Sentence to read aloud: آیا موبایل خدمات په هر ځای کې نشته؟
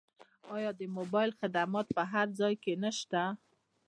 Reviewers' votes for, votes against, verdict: 2, 0, accepted